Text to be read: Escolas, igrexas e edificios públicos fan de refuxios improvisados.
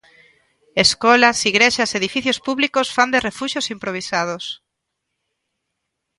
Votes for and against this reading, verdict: 2, 0, accepted